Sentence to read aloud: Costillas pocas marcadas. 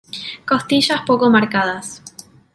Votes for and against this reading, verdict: 3, 1, accepted